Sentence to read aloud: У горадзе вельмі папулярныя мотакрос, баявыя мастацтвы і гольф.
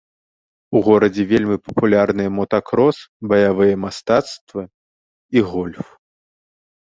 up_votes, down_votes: 2, 0